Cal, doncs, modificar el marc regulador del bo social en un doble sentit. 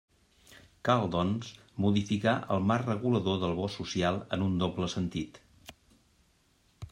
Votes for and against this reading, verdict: 2, 0, accepted